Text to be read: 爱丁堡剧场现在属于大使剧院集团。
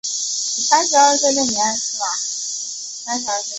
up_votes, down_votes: 3, 0